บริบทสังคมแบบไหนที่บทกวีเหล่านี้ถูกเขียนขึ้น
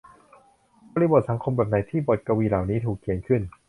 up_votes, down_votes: 2, 0